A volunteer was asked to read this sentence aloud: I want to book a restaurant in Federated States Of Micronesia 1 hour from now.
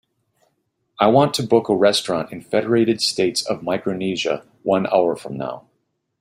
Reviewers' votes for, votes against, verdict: 0, 2, rejected